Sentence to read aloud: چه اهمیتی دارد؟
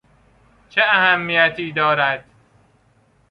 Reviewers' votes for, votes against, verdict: 2, 0, accepted